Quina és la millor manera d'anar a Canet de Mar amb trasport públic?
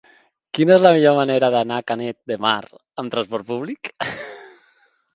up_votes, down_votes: 0, 3